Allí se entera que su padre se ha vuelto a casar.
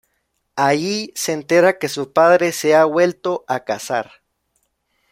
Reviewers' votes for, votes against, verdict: 1, 2, rejected